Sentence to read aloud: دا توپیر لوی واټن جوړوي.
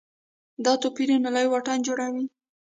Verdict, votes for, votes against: rejected, 1, 2